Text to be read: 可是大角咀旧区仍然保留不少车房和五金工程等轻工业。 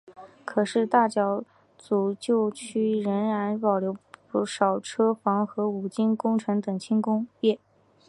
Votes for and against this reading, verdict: 3, 0, accepted